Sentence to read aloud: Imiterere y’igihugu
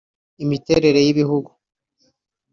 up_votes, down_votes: 0, 2